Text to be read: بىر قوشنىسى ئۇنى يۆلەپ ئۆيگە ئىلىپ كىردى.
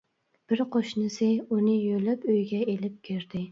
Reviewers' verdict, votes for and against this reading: accepted, 2, 0